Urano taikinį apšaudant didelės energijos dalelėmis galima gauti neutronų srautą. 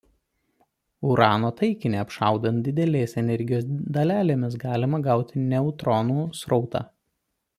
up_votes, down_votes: 2, 0